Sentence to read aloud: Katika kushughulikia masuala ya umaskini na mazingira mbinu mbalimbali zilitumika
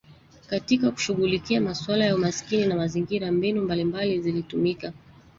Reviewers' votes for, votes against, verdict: 1, 2, rejected